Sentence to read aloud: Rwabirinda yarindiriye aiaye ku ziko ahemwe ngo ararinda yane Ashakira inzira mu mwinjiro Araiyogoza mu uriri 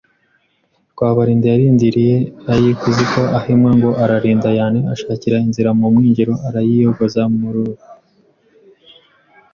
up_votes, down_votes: 1, 2